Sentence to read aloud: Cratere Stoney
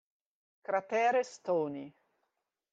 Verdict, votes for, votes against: accepted, 2, 0